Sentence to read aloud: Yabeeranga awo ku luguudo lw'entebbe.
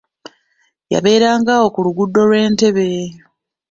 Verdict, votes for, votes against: accepted, 2, 0